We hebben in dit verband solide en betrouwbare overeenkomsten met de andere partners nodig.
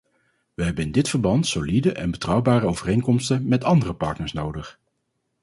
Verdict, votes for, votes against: rejected, 0, 4